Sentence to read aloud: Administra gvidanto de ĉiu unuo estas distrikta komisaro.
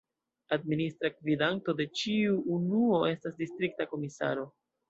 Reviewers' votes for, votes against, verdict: 2, 0, accepted